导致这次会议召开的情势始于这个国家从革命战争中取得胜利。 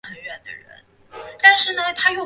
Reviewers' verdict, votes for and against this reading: rejected, 0, 2